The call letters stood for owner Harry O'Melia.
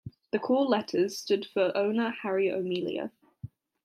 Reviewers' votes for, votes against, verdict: 2, 0, accepted